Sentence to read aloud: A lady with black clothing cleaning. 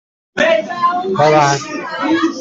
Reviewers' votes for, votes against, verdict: 0, 2, rejected